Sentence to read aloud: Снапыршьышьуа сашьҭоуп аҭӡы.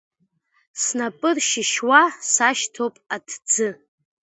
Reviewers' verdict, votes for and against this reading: rejected, 1, 2